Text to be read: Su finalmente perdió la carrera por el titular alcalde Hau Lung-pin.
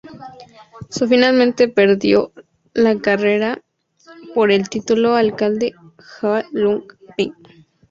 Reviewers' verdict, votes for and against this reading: rejected, 2, 2